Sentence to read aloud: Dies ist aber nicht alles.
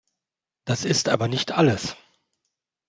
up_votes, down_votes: 0, 4